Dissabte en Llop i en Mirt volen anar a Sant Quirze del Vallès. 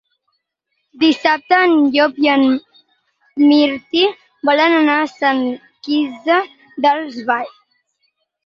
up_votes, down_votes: 2, 4